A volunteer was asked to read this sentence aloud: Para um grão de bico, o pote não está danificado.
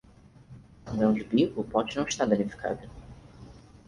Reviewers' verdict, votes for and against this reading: rejected, 0, 4